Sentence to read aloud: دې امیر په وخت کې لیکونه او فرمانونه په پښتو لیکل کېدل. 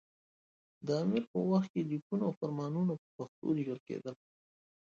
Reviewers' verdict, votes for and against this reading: rejected, 1, 2